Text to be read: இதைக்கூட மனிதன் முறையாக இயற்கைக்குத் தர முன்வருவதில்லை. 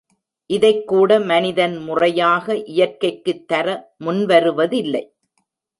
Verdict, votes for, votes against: accepted, 3, 0